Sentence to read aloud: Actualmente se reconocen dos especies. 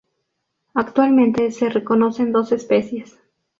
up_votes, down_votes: 4, 0